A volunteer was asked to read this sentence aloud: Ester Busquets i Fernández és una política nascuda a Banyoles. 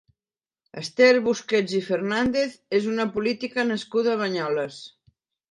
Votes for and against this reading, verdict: 2, 0, accepted